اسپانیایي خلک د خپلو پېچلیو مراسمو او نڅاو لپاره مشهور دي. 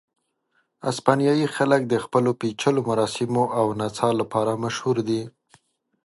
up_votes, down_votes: 3, 0